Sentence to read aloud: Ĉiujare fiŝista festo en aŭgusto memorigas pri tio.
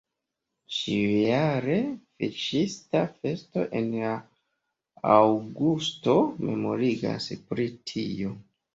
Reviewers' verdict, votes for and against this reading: rejected, 1, 2